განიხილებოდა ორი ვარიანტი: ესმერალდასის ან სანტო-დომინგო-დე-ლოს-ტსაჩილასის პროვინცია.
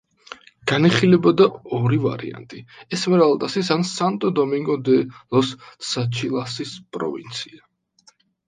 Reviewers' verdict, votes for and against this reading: accepted, 2, 0